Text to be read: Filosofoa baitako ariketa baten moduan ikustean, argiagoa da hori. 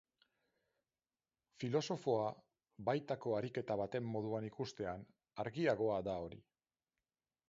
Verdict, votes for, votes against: rejected, 2, 2